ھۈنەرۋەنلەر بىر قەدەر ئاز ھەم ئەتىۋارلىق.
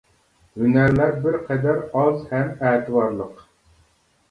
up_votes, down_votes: 0, 2